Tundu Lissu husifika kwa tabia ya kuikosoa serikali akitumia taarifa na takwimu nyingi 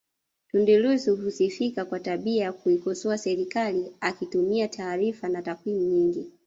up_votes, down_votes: 1, 2